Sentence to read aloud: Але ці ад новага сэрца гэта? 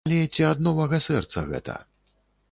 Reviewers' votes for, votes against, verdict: 1, 2, rejected